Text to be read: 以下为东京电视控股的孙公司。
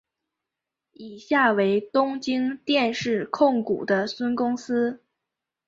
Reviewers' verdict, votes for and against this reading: rejected, 2, 2